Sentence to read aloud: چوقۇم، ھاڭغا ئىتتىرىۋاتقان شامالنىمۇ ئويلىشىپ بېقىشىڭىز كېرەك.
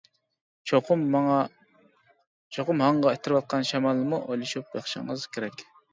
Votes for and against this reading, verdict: 0, 2, rejected